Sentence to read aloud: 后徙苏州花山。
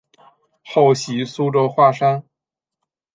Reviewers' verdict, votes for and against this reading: accepted, 2, 0